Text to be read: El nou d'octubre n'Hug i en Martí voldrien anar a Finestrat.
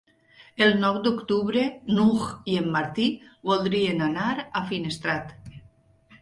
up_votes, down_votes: 0, 2